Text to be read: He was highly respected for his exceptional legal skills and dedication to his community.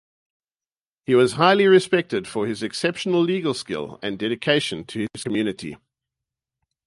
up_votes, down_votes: 0, 2